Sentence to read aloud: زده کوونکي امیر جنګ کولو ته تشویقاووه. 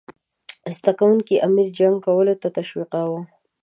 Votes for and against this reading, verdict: 2, 0, accepted